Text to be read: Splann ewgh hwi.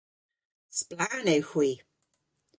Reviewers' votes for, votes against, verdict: 0, 2, rejected